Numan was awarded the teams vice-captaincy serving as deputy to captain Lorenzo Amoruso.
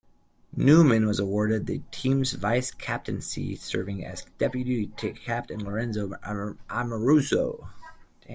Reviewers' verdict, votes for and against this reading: rejected, 0, 2